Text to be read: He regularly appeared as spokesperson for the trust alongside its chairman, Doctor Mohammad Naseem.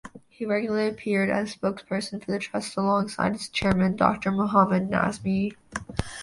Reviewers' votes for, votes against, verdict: 0, 2, rejected